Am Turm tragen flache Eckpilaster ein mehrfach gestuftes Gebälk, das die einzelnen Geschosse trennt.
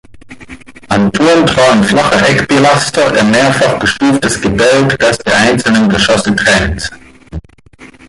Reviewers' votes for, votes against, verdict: 1, 2, rejected